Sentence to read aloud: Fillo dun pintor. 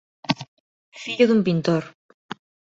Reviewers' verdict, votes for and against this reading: accepted, 2, 0